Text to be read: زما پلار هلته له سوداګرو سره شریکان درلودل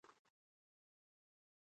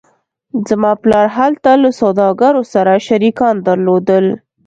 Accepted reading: second